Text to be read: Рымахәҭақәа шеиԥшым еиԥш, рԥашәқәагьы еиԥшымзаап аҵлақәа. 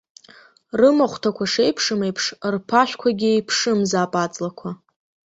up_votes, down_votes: 3, 0